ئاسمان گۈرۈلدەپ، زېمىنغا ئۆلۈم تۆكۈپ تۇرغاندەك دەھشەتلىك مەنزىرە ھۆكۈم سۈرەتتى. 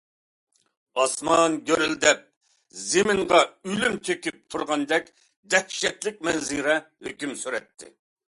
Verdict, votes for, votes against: accepted, 2, 0